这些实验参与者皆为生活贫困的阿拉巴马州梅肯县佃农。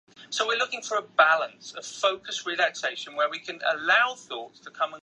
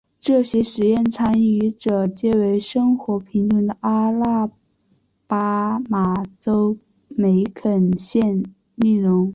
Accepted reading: second